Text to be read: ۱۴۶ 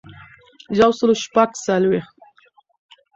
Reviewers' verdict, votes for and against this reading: rejected, 0, 2